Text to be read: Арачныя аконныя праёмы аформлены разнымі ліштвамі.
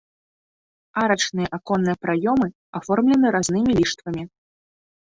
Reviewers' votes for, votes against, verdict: 2, 1, accepted